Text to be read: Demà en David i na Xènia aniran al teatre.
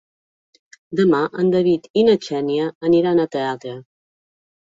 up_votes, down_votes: 1, 2